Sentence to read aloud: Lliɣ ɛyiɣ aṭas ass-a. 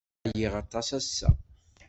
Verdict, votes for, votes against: rejected, 1, 2